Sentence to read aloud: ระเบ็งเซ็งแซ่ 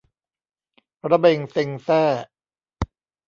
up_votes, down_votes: 1, 2